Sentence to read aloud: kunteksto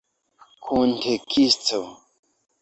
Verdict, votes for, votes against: rejected, 0, 2